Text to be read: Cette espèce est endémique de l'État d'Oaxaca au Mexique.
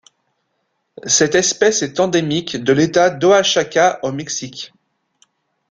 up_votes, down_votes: 2, 1